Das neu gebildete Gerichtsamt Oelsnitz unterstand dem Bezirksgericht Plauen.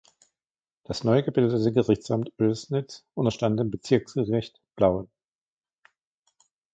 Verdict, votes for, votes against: rejected, 1, 2